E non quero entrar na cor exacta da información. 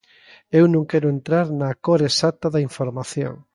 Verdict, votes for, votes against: rejected, 1, 2